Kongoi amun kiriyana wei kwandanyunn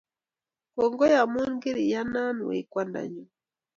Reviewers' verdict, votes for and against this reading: accepted, 2, 0